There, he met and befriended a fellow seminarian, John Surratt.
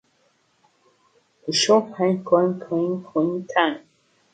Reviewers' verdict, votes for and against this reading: rejected, 0, 2